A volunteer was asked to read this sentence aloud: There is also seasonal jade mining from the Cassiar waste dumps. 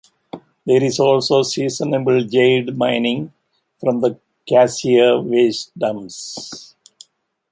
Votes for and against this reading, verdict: 0, 2, rejected